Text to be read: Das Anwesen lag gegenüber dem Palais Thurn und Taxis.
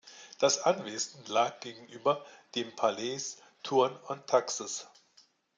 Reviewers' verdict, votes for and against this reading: accepted, 3, 0